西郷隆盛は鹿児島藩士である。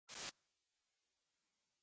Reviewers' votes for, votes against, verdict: 1, 2, rejected